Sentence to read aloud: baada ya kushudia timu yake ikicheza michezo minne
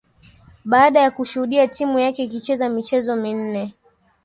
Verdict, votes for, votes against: rejected, 1, 2